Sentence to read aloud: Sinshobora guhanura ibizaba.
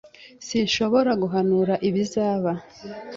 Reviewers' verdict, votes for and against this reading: accepted, 3, 0